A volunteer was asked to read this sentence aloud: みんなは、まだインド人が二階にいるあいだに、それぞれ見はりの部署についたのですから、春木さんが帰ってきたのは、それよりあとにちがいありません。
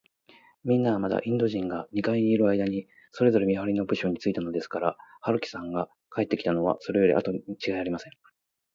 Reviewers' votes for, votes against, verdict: 6, 0, accepted